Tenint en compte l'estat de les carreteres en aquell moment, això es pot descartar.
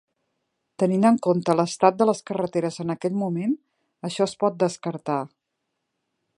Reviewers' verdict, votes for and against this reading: accepted, 2, 0